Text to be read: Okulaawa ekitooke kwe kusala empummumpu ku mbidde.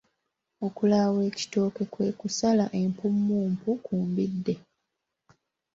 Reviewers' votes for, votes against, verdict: 2, 0, accepted